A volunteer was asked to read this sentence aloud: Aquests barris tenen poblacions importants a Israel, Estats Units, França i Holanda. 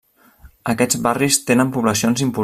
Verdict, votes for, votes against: rejected, 0, 2